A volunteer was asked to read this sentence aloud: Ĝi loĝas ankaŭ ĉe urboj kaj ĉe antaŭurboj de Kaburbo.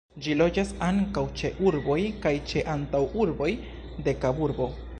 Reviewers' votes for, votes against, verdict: 1, 2, rejected